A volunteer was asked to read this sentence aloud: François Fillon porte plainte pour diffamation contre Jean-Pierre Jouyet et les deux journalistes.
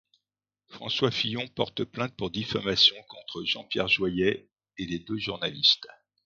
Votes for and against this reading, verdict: 0, 2, rejected